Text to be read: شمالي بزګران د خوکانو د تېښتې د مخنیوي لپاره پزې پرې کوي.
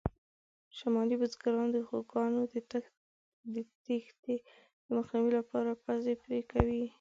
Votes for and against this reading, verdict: 0, 2, rejected